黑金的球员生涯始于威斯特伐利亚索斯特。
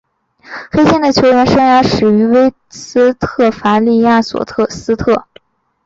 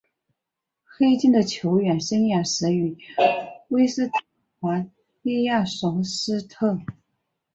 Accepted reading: first